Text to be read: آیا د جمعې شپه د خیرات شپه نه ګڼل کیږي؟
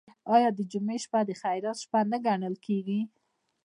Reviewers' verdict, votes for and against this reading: rejected, 0, 2